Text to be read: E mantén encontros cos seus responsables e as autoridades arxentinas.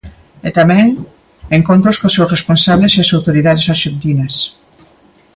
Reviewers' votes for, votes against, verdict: 0, 2, rejected